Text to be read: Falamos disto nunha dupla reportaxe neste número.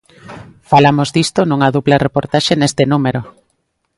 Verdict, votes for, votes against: accepted, 2, 0